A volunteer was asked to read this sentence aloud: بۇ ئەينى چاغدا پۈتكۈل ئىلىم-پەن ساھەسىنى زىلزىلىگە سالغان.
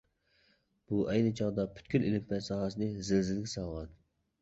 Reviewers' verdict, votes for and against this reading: rejected, 1, 2